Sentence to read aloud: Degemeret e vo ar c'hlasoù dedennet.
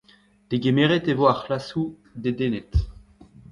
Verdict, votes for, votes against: rejected, 1, 2